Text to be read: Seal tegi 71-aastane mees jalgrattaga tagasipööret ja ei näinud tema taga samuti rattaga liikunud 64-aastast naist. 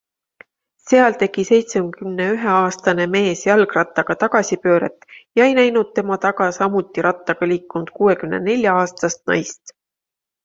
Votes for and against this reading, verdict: 0, 2, rejected